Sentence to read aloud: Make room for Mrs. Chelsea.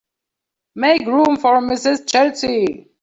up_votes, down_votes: 2, 0